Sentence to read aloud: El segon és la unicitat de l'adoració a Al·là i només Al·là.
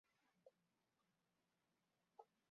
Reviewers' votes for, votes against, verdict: 0, 2, rejected